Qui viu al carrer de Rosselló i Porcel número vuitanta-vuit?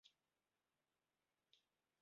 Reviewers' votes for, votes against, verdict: 2, 5, rejected